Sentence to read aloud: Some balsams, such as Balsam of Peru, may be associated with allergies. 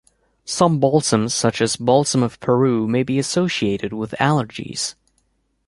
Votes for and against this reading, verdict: 2, 0, accepted